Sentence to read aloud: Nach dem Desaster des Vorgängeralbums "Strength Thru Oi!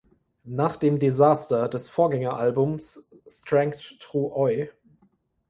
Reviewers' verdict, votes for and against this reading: rejected, 1, 2